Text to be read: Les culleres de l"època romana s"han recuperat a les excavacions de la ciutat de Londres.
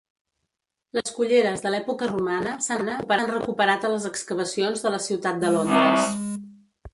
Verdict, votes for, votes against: rejected, 0, 2